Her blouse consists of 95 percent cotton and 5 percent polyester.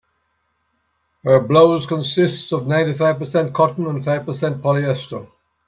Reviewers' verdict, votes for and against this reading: rejected, 0, 2